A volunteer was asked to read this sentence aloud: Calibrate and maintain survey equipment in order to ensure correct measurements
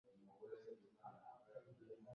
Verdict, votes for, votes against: rejected, 0, 2